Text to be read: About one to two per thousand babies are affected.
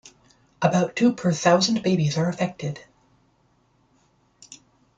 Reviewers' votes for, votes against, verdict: 1, 3, rejected